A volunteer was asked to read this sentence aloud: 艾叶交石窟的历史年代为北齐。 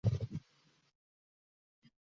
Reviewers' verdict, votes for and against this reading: rejected, 1, 3